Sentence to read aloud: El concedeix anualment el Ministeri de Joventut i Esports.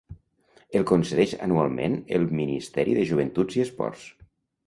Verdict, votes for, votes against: rejected, 0, 2